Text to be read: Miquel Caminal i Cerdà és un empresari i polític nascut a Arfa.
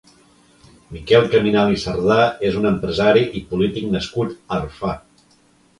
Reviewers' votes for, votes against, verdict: 0, 2, rejected